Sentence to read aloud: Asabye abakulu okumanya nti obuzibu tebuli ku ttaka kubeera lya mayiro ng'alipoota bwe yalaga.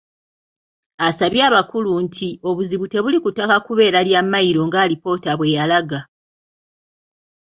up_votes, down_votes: 0, 2